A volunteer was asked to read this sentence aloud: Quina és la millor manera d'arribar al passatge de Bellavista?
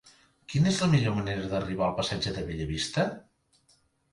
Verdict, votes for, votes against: accepted, 3, 0